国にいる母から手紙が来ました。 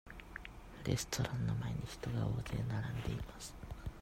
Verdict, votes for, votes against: rejected, 0, 2